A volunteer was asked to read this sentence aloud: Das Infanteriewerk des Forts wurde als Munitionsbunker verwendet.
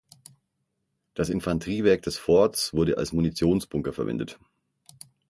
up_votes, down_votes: 6, 0